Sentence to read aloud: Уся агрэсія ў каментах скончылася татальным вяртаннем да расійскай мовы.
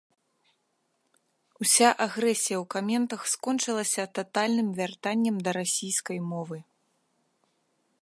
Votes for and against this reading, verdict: 2, 0, accepted